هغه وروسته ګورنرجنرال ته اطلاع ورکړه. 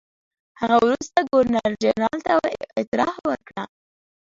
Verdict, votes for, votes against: rejected, 1, 2